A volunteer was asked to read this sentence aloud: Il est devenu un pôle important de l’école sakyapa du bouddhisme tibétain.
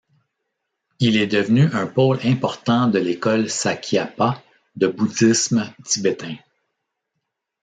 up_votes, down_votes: 2, 0